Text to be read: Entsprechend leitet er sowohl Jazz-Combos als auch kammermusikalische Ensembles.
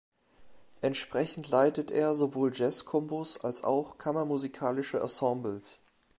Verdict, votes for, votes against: accepted, 2, 0